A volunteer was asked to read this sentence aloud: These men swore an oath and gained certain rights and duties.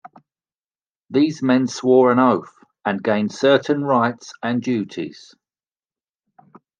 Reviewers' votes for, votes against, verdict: 2, 0, accepted